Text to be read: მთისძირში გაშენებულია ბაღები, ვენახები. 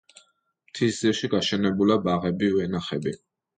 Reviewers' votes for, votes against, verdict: 1, 2, rejected